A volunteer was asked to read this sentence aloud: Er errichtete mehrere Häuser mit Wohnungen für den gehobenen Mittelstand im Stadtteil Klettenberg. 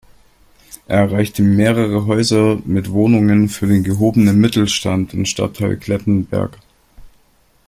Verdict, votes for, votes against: rejected, 0, 2